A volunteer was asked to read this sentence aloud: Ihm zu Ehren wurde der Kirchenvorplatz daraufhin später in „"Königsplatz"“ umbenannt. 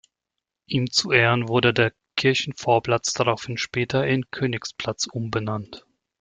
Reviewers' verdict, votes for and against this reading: accepted, 2, 0